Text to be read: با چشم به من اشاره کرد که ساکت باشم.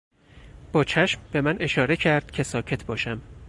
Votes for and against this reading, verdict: 4, 0, accepted